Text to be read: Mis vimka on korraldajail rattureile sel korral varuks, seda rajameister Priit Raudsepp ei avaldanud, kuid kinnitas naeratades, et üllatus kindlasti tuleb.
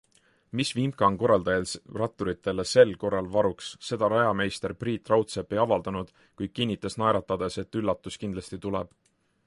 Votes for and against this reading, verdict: 2, 1, accepted